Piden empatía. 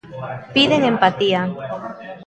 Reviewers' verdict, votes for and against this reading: rejected, 1, 2